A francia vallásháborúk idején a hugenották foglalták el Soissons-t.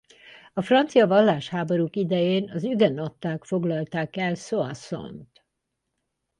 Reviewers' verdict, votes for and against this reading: rejected, 0, 2